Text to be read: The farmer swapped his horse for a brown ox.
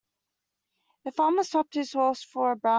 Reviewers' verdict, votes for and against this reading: rejected, 0, 2